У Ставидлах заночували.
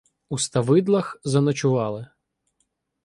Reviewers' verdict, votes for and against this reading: accepted, 2, 0